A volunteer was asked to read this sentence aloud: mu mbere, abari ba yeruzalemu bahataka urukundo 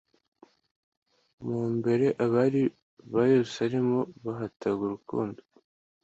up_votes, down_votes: 1, 2